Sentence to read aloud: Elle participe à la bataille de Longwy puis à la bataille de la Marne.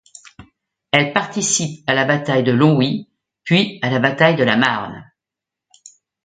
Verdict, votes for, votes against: accepted, 2, 0